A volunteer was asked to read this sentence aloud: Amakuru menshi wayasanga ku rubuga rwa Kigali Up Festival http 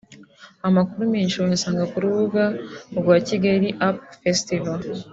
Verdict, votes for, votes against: accepted, 2, 0